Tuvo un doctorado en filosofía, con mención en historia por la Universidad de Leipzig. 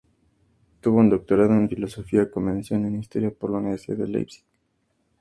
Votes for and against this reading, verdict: 2, 0, accepted